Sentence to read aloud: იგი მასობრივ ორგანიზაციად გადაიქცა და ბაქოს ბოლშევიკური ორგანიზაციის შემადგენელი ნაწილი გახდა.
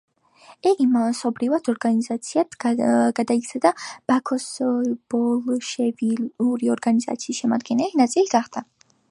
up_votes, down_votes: 2, 1